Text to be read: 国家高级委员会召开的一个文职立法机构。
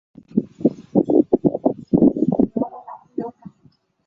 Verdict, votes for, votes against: rejected, 1, 2